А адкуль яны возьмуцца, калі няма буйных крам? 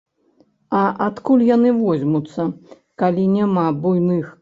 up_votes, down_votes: 2, 3